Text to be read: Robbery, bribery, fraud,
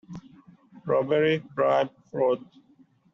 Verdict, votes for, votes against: rejected, 0, 2